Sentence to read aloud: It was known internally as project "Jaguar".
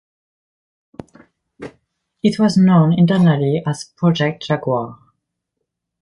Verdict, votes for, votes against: accepted, 2, 0